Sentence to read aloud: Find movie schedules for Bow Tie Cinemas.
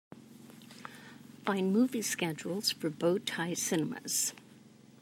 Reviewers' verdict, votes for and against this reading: accepted, 2, 0